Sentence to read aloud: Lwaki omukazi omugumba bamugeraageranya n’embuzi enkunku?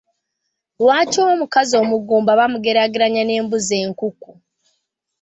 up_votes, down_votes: 2, 1